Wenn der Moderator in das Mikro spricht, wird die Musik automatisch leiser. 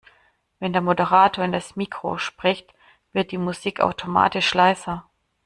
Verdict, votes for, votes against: accepted, 2, 0